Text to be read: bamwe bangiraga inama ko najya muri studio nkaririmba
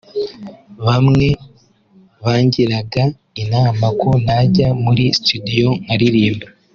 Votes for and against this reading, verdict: 4, 0, accepted